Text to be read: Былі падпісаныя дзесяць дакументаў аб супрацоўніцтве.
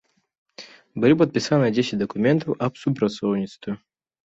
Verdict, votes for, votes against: accepted, 2, 0